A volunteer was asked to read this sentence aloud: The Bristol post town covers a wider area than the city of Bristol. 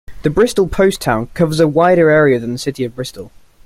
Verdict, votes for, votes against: accepted, 2, 1